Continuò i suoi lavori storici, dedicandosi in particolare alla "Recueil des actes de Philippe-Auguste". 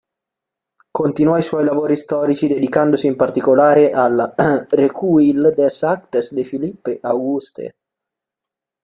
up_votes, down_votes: 1, 2